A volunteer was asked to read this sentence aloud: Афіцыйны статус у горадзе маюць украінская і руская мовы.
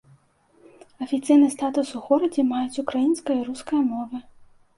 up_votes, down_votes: 2, 0